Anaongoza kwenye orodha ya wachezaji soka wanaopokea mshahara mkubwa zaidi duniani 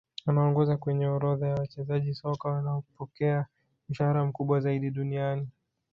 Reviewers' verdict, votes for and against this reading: rejected, 1, 2